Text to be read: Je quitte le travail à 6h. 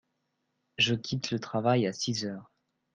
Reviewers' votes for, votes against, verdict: 0, 2, rejected